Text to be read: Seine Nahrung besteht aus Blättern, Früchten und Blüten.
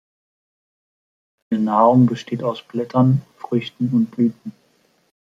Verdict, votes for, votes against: rejected, 0, 2